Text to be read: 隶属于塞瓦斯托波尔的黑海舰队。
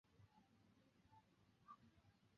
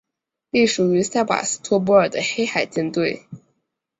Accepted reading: second